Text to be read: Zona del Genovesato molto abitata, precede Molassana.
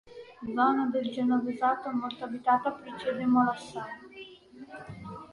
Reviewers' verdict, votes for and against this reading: rejected, 1, 2